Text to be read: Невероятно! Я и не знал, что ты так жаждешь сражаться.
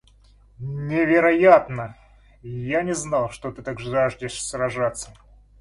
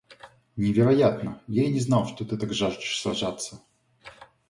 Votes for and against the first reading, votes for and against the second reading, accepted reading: 0, 2, 2, 0, second